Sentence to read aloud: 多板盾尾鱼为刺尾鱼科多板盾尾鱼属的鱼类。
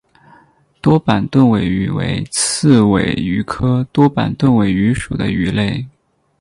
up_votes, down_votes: 6, 0